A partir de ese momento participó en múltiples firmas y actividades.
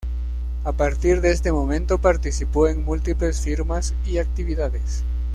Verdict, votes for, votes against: rejected, 1, 2